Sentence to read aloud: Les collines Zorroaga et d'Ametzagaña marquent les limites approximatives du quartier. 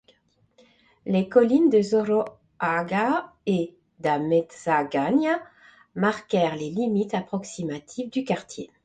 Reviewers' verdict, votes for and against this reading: rejected, 1, 2